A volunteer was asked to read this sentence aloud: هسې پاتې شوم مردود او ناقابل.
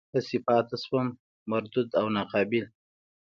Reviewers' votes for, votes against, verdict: 2, 0, accepted